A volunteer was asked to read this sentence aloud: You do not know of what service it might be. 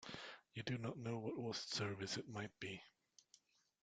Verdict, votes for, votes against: rejected, 1, 2